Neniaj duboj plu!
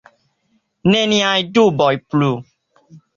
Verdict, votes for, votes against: accepted, 2, 0